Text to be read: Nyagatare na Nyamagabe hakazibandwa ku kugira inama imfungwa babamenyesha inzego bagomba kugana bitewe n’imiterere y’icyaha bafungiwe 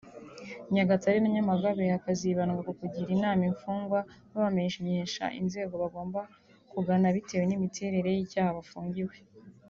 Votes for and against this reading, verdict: 1, 2, rejected